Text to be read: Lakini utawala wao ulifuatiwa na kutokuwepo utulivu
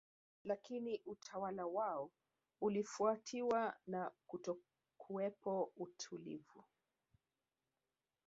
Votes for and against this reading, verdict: 1, 2, rejected